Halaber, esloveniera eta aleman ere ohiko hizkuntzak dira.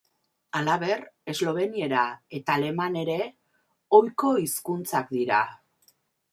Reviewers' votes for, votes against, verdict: 2, 0, accepted